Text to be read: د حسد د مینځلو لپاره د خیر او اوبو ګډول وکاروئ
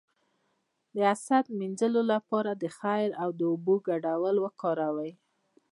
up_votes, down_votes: 0, 2